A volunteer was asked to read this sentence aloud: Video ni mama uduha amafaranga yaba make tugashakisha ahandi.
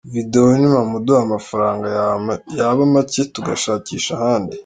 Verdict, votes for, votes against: rejected, 0, 2